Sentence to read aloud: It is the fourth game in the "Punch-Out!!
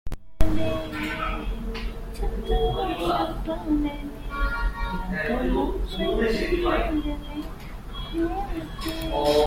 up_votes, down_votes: 0, 2